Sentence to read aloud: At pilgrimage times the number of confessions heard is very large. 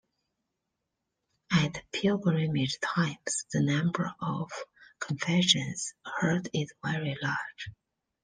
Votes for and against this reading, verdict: 1, 2, rejected